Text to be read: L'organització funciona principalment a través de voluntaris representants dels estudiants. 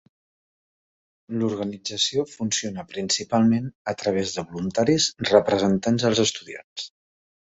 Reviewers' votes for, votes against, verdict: 2, 1, accepted